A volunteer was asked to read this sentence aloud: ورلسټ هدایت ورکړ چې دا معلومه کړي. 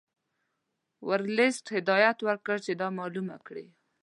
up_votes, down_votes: 2, 0